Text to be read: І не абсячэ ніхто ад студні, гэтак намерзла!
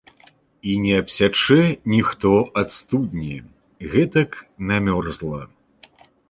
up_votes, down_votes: 1, 2